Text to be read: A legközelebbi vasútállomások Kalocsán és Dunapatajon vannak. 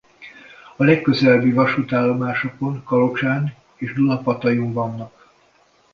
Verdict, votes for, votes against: rejected, 1, 2